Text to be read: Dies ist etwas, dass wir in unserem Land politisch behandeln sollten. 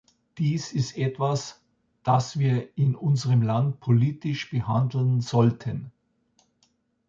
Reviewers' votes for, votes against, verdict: 2, 0, accepted